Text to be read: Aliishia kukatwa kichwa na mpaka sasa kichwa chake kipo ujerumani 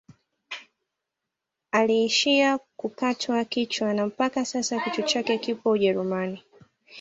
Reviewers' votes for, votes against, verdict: 1, 2, rejected